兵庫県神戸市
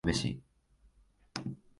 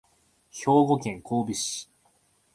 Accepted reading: second